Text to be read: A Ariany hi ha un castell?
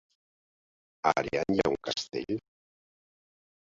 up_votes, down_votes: 3, 1